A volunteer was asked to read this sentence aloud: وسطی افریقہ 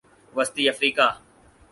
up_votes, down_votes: 4, 0